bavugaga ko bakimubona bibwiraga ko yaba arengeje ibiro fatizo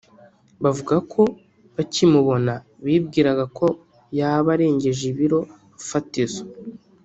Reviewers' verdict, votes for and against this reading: rejected, 1, 2